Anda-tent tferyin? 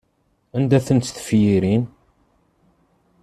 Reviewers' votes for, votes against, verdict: 0, 2, rejected